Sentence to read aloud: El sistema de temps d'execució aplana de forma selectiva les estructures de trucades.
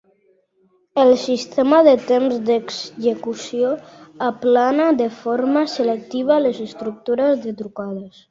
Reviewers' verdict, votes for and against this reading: accepted, 2, 1